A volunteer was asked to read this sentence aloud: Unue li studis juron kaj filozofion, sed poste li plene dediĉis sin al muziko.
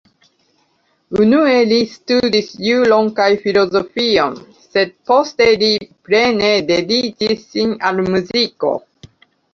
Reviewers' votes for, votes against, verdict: 0, 2, rejected